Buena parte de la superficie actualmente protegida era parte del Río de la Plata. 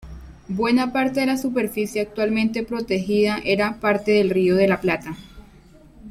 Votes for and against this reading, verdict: 2, 0, accepted